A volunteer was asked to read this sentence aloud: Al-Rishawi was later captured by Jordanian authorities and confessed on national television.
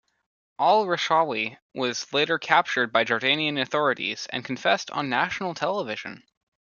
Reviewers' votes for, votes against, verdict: 2, 0, accepted